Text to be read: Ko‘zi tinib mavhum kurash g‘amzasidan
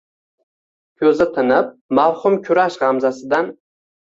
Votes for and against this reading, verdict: 2, 1, accepted